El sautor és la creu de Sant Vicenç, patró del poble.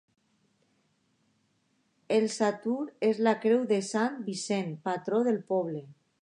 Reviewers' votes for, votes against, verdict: 2, 0, accepted